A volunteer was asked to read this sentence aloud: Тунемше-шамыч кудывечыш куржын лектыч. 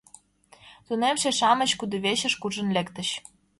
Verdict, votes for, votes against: accepted, 2, 0